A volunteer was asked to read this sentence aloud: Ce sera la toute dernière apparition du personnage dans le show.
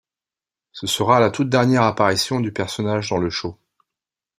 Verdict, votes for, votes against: accepted, 2, 0